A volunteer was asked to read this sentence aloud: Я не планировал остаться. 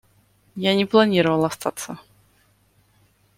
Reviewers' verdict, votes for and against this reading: accepted, 2, 0